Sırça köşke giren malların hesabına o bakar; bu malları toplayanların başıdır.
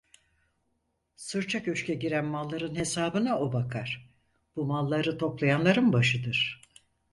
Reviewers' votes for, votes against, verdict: 4, 0, accepted